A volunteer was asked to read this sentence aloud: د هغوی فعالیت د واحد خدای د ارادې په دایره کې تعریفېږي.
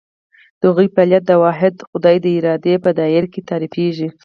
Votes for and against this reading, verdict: 2, 4, rejected